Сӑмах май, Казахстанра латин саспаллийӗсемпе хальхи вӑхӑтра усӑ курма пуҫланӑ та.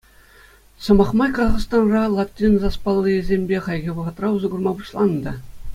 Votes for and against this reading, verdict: 2, 0, accepted